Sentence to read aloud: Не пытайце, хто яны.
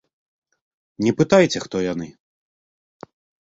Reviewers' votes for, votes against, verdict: 2, 0, accepted